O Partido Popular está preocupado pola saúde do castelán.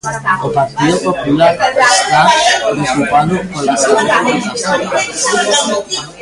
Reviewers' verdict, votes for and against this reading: rejected, 0, 3